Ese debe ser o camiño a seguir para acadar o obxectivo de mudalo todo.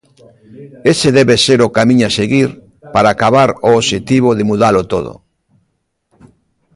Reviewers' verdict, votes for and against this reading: rejected, 0, 2